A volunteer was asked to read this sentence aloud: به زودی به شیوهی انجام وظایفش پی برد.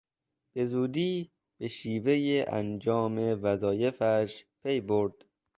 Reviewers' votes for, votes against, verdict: 2, 0, accepted